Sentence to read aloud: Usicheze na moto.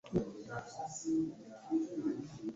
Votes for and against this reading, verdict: 1, 2, rejected